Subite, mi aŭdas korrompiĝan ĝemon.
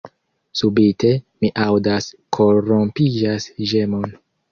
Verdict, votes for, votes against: rejected, 1, 2